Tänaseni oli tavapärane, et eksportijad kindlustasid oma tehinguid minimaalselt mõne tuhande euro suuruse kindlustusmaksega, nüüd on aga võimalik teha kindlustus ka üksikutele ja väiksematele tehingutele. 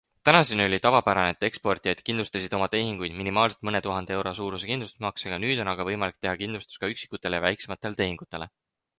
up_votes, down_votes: 4, 2